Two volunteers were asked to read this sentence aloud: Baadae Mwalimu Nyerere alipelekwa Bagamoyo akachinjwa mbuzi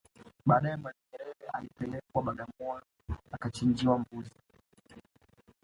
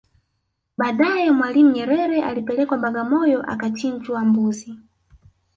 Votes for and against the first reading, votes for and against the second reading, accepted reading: 2, 1, 0, 2, first